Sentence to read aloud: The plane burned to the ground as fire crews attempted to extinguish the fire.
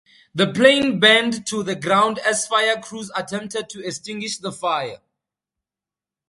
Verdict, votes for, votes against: accepted, 2, 0